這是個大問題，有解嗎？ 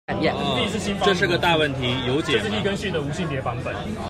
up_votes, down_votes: 1, 2